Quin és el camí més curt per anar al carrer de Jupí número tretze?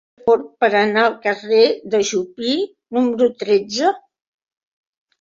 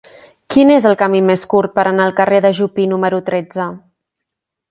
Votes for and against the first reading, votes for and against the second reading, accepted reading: 1, 2, 3, 0, second